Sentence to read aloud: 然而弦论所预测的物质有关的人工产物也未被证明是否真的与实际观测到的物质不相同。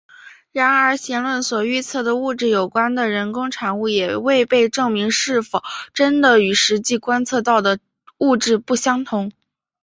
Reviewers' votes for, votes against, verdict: 2, 1, accepted